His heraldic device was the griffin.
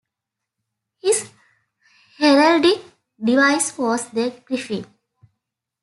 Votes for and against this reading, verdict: 2, 0, accepted